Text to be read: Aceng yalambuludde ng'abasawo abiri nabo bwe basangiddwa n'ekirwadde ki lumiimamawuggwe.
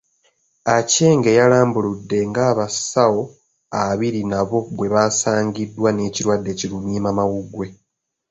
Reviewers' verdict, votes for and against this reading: accepted, 2, 0